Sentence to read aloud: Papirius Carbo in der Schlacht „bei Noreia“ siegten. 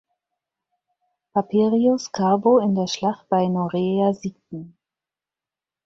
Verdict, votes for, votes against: accepted, 4, 0